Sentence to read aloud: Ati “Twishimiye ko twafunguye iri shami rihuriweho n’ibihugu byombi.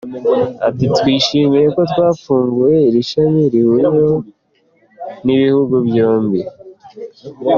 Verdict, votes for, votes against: accepted, 2, 0